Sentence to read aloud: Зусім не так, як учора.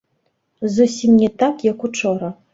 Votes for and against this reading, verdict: 0, 2, rejected